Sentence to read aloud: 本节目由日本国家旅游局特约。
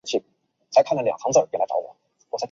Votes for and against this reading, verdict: 0, 3, rejected